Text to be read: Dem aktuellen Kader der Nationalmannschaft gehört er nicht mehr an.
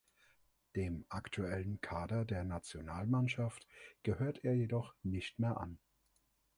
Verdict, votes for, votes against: rejected, 0, 2